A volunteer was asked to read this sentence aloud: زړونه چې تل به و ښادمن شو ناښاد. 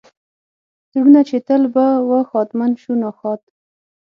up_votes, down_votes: 6, 9